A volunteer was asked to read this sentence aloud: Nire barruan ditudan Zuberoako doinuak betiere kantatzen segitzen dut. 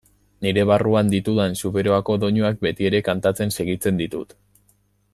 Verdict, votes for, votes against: rejected, 0, 2